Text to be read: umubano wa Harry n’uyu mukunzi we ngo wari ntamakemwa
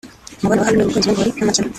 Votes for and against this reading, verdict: 1, 3, rejected